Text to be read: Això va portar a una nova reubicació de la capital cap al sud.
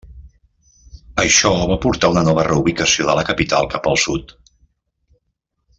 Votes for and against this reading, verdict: 2, 0, accepted